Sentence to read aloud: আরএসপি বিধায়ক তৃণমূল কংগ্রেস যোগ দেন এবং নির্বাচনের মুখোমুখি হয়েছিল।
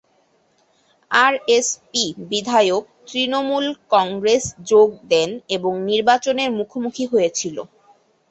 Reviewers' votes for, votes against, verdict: 2, 0, accepted